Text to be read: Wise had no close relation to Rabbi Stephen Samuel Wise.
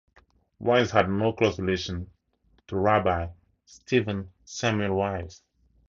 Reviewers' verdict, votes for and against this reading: accepted, 2, 0